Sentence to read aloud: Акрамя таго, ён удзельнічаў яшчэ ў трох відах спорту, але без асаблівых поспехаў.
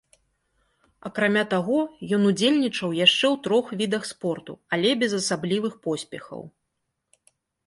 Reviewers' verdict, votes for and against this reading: accepted, 2, 0